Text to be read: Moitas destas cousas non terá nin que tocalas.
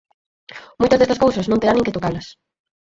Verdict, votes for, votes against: rejected, 2, 4